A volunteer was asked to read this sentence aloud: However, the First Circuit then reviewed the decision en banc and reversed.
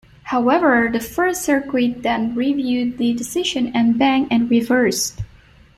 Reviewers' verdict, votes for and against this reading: rejected, 0, 2